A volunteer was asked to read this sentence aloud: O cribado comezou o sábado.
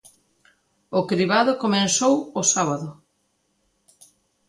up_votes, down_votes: 0, 2